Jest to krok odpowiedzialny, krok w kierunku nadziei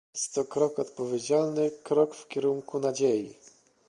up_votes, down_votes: 1, 2